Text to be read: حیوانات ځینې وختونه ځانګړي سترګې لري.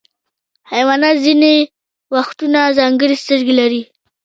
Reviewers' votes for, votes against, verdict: 2, 0, accepted